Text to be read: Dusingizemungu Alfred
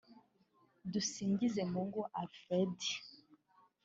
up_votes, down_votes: 3, 1